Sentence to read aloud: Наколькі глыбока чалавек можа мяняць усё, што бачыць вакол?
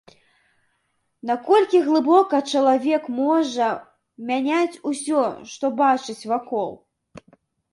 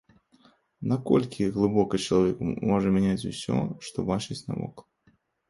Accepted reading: first